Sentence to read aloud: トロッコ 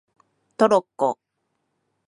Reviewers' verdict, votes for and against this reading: accepted, 2, 0